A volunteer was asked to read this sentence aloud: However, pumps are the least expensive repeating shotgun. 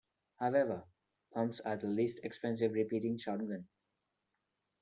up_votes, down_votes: 1, 2